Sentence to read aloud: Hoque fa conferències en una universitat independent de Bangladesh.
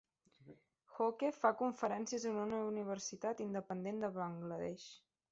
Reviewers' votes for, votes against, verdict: 2, 0, accepted